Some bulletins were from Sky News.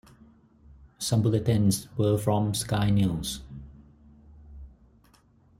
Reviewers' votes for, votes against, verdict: 4, 0, accepted